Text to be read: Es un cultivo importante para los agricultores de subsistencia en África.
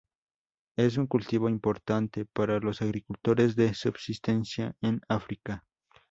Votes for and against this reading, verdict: 2, 0, accepted